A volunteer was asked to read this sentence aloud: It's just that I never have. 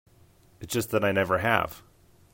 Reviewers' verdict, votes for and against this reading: accepted, 3, 0